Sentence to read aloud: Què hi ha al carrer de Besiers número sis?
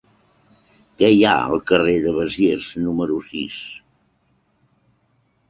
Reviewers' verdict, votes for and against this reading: accepted, 6, 0